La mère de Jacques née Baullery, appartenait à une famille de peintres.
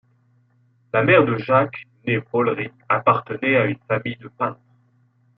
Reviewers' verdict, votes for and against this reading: accepted, 2, 0